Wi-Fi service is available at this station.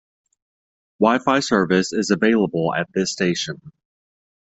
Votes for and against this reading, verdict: 2, 0, accepted